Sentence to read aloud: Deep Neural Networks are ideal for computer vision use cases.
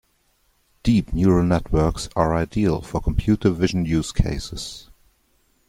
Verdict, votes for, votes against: accepted, 2, 0